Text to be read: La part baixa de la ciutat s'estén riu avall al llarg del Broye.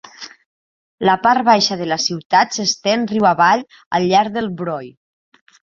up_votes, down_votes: 3, 0